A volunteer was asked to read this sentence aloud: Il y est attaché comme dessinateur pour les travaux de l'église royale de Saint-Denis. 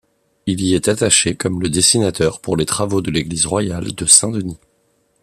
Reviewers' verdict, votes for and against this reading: rejected, 1, 2